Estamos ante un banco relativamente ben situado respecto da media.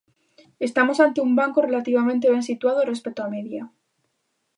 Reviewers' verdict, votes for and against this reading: rejected, 1, 2